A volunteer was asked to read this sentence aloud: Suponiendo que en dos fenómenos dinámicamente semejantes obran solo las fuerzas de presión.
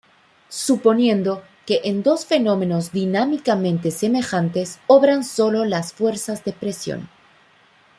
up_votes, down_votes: 2, 0